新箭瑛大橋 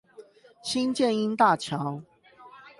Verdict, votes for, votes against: accepted, 8, 0